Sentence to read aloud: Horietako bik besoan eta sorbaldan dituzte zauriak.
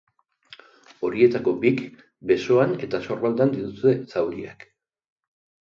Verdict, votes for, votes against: rejected, 2, 2